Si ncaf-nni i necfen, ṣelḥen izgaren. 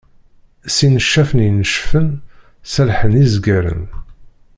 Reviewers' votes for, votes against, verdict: 0, 2, rejected